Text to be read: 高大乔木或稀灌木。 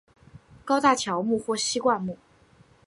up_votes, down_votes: 3, 0